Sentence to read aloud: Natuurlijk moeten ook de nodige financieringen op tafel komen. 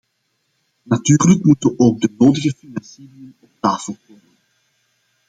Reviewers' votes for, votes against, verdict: 0, 2, rejected